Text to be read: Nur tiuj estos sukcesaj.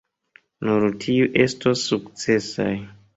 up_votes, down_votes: 1, 2